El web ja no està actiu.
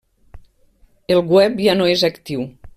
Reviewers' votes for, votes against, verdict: 0, 2, rejected